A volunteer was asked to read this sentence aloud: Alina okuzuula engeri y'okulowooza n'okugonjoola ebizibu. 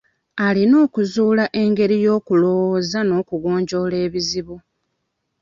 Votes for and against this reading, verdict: 2, 0, accepted